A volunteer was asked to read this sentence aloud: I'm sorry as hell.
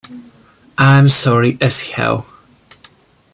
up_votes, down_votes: 2, 1